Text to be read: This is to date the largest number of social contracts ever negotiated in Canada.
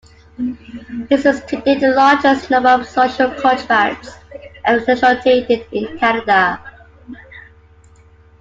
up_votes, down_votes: 1, 2